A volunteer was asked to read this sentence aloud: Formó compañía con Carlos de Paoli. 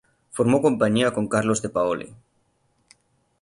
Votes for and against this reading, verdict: 3, 0, accepted